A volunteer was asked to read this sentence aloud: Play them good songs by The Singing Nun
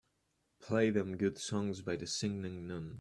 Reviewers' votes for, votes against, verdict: 2, 0, accepted